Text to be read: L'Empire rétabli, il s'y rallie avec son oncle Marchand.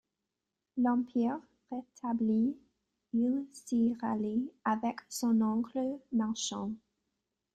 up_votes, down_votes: 1, 2